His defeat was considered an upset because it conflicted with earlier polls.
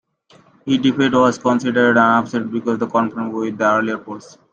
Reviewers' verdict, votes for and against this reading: rejected, 0, 2